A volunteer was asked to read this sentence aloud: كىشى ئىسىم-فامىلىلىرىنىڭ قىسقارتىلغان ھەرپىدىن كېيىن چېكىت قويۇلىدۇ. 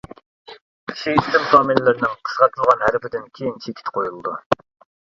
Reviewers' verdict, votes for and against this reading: rejected, 0, 2